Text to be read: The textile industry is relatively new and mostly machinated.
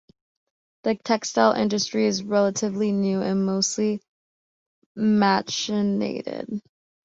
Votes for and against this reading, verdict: 0, 2, rejected